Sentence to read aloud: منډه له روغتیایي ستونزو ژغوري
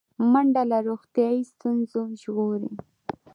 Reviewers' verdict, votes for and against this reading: accepted, 2, 0